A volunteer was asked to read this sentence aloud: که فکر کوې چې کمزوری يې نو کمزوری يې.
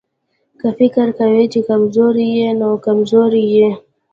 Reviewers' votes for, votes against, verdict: 0, 2, rejected